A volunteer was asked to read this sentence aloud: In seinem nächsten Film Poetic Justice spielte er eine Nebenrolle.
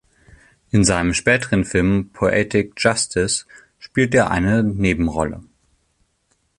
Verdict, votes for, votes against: rejected, 0, 2